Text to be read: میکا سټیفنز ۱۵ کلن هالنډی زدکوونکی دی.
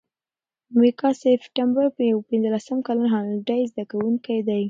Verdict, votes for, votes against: rejected, 0, 2